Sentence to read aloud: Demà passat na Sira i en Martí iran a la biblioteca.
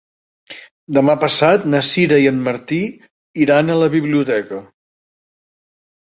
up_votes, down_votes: 2, 0